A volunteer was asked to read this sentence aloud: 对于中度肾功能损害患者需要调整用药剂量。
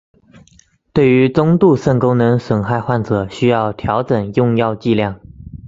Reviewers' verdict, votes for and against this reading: accepted, 2, 0